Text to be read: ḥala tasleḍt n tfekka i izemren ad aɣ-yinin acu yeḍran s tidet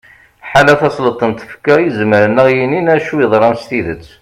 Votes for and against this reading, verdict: 2, 0, accepted